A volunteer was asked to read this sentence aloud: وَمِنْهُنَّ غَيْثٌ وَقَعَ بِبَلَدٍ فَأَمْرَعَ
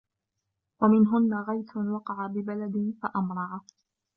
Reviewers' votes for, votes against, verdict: 2, 0, accepted